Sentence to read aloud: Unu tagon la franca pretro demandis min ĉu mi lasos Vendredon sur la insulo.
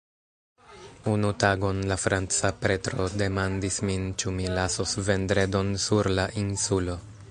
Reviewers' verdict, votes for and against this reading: rejected, 1, 2